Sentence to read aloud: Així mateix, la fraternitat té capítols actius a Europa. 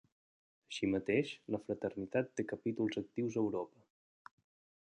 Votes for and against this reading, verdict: 3, 0, accepted